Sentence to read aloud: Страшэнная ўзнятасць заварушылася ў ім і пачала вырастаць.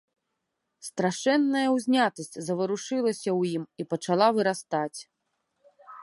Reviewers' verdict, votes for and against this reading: accepted, 2, 0